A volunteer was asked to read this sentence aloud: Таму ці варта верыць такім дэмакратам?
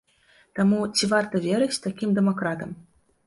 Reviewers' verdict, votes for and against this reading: accepted, 2, 0